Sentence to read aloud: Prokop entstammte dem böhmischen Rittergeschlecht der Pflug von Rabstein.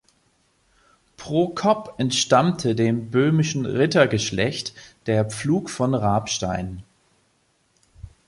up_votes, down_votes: 2, 0